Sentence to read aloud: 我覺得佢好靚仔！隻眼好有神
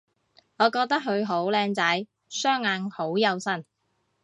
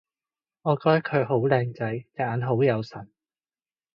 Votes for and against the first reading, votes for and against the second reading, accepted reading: 1, 2, 2, 0, second